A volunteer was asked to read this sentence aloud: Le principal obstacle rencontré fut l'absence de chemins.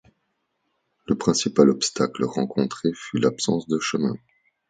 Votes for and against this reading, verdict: 2, 0, accepted